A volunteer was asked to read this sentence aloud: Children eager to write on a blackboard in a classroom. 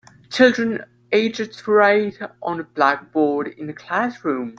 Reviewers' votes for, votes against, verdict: 1, 2, rejected